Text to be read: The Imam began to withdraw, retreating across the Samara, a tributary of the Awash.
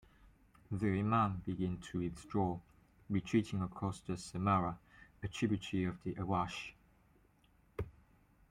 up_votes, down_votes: 1, 2